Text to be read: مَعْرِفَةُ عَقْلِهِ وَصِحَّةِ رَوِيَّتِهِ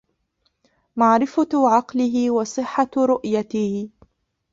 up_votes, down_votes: 0, 2